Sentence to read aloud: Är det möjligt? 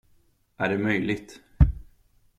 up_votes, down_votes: 2, 0